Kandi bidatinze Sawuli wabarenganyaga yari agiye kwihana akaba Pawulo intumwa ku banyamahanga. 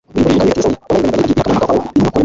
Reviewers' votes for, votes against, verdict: 1, 2, rejected